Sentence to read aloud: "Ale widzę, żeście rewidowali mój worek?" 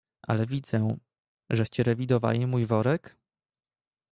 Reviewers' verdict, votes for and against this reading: accepted, 2, 0